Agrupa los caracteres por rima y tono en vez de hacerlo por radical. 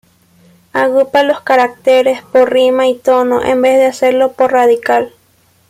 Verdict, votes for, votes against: accepted, 2, 0